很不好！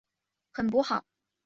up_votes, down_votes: 5, 0